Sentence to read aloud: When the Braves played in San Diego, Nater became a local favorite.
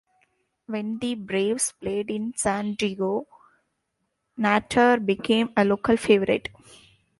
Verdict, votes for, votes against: rejected, 1, 2